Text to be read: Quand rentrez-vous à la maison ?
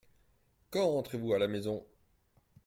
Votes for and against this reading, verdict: 2, 0, accepted